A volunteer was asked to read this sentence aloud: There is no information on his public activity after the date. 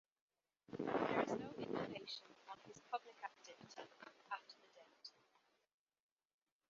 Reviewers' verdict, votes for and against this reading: rejected, 0, 2